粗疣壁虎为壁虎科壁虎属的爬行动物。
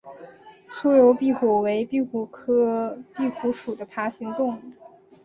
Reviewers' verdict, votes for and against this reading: accepted, 2, 0